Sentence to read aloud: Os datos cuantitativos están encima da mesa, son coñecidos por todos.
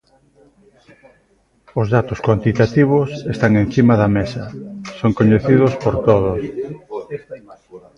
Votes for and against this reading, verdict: 1, 2, rejected